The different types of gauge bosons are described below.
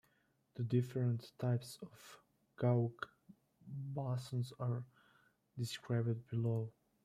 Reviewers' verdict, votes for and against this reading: rejected, 0, 2